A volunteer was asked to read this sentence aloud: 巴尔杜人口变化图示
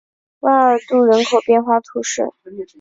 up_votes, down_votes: 5, 1